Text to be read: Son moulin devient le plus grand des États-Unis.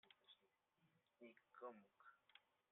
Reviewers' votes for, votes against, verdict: 0, 2, rejected